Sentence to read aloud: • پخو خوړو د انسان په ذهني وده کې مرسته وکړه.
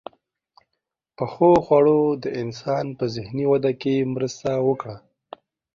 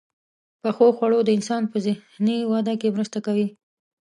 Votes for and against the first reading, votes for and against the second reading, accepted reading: 2, 0, 0, 2, first